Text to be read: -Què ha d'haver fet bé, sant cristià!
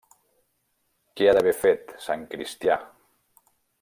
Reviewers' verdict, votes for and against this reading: rejected, 0, 3